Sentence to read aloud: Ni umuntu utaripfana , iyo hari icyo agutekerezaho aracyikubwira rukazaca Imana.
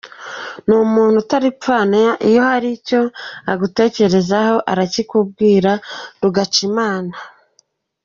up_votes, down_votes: 1, 2